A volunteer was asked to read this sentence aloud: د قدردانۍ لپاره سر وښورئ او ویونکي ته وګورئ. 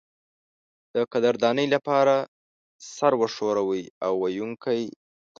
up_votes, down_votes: 1, 2